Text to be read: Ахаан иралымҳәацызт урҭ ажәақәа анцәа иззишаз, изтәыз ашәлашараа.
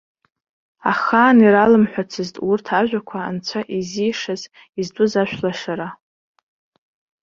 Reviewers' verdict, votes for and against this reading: rejected, 0, 2